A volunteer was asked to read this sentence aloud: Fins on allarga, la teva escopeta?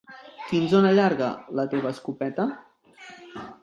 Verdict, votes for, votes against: accepted, 3, 1